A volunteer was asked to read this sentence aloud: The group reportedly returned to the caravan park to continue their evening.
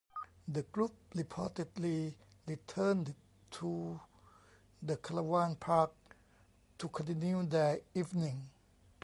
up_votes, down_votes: 0, 2